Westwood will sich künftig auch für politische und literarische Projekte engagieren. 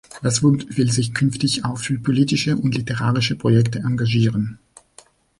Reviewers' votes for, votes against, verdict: 0, 2, rejected